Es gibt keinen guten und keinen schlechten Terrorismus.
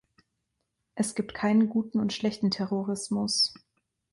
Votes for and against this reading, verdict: 0, 2, rejected